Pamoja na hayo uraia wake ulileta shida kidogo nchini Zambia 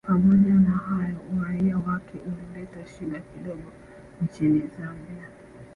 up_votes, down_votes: 1, 2